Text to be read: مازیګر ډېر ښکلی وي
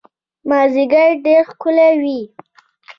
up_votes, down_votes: 2, 0